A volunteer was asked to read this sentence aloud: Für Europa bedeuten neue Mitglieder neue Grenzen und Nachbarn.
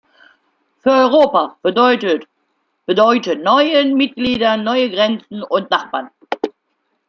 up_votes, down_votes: 0, 2